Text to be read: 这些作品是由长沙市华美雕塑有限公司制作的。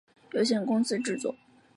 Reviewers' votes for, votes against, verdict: 1, 2, rejected